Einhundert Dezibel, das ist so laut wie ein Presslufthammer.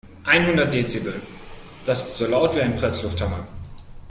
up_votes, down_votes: 3, 0